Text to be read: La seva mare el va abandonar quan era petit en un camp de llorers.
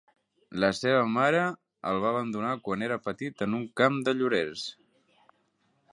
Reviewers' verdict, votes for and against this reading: accepted, 4, 0